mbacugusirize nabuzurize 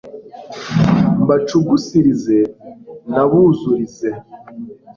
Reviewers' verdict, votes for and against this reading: accepted, 2, 0